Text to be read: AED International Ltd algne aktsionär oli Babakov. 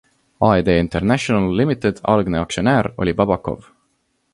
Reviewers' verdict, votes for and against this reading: accepted, 2, 1